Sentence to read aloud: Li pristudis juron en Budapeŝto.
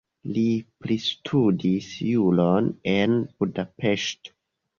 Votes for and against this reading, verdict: 1, 2, rejected